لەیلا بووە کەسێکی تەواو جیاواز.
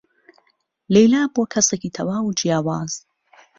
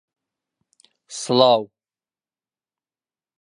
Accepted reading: first